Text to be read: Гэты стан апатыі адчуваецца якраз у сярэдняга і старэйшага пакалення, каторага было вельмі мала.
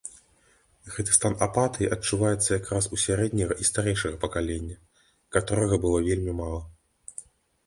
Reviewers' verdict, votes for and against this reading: accepted, 2, 0